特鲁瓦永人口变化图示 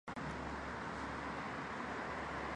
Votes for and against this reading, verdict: 1, 4, rejected